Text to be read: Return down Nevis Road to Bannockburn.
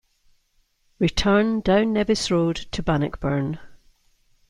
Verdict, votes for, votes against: accepted, 2, 0